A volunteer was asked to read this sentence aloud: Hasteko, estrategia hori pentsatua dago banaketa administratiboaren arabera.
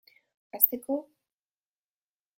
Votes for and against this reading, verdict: 0, 2, rejected